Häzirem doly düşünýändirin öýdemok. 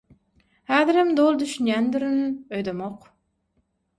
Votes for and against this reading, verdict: 6, 0, accepted